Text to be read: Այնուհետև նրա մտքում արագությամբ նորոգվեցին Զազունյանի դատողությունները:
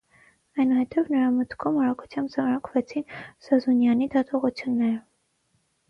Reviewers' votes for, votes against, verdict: 3, 6, rejected